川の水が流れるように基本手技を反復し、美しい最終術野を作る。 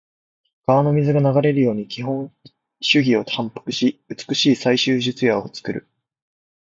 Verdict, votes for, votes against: accepted, 2, 0